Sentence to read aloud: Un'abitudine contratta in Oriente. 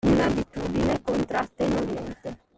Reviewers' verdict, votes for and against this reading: rejected, 1, 2